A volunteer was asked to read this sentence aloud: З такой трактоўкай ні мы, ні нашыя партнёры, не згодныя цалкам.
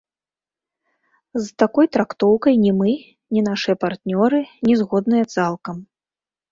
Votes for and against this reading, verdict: 1, 2, rejected